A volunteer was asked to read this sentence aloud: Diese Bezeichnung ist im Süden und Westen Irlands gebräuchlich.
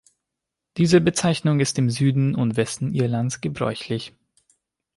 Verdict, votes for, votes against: accepted, 3, 0